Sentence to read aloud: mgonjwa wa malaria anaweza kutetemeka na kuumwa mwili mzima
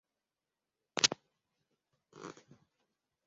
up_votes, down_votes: 0, 2